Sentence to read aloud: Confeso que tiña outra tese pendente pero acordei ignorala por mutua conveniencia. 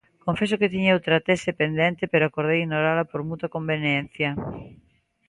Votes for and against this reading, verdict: 2, 1, accepted